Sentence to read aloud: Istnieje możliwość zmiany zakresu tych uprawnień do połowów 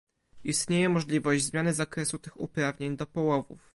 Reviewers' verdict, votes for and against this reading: rejected, 1, 2